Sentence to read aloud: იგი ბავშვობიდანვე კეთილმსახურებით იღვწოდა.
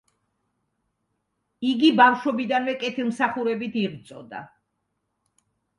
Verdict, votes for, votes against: accepted, 2, 0